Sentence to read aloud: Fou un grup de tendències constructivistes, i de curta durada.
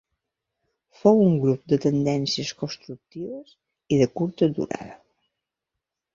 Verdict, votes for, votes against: rejected, 0, 2